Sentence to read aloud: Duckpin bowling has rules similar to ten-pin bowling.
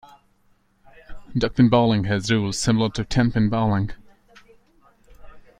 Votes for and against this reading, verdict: 2, 1, accepted